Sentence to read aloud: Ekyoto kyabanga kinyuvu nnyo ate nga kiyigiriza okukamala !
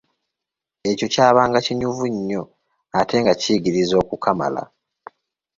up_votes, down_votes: 0, 2